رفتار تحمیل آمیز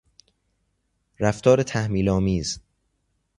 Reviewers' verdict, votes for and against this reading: accepted, 2, 0